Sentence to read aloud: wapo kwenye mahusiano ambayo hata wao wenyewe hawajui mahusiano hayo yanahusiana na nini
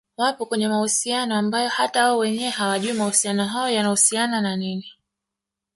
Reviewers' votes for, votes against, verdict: 2, 1, accepted